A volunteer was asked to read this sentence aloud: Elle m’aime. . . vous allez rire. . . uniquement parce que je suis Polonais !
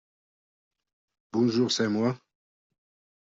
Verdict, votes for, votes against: rejected, 0, 2